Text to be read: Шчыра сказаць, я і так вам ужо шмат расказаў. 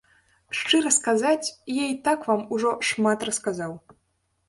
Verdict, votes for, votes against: accepted, 2, 0